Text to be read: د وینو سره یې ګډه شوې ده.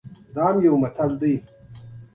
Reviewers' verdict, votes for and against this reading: rejected, 1, 2